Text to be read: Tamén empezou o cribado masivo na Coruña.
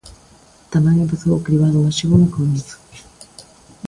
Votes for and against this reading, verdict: 0, 2, rejected